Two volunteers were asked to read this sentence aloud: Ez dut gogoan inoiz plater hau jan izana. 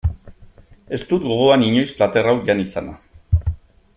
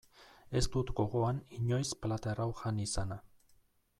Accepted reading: first